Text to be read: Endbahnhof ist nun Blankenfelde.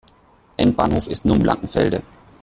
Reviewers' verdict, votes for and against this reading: rejected, 1, 2